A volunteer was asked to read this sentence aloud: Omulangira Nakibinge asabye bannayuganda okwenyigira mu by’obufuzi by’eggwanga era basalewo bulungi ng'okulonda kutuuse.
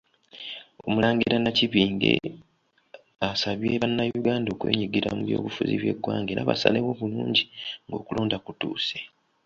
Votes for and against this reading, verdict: 2, 1, accepted